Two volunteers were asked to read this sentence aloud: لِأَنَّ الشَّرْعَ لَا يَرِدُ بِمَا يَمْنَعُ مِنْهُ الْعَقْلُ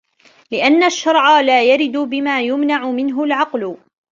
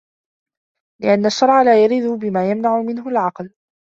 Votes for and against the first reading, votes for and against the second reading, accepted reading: 0, 2, 2, 1, second